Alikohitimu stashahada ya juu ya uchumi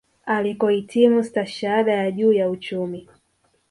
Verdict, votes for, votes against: accepted, 2, 0